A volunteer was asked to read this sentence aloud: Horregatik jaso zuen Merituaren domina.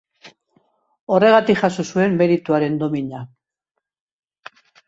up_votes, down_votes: 2, 0